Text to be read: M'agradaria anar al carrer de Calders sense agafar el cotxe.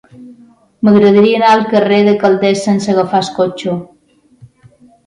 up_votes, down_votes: 1, 3